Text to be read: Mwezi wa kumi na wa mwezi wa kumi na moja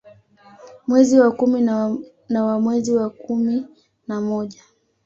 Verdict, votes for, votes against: rejected, 0, 2